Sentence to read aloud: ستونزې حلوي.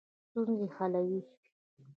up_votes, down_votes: 0, 2